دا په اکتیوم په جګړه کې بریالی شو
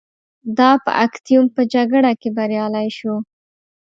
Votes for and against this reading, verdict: 2, 0, accepted